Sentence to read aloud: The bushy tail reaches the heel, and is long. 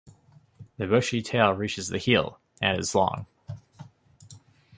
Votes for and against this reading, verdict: 3, 0, accepted